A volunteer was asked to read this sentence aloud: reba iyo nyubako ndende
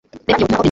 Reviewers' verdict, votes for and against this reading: rejected, 1, 2